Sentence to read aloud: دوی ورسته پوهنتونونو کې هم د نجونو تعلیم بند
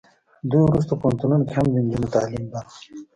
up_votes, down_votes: 1, 2